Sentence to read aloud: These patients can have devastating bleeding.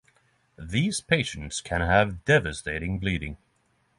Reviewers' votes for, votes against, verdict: 6, 0, accepted